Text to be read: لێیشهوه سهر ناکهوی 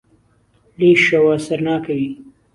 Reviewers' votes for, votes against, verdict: 2, 0, accepted